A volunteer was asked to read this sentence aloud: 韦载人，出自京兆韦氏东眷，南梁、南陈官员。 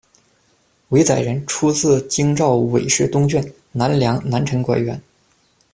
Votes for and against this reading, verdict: 2, 0, accepted